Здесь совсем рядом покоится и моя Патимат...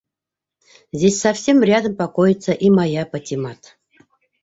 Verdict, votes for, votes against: accepted, 2, 1